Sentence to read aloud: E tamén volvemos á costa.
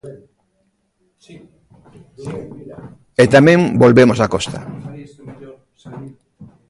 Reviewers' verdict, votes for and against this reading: rejected, 1, 2